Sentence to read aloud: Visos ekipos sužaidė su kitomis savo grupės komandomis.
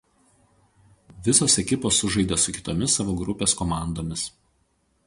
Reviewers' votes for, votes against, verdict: 4, 0, accepted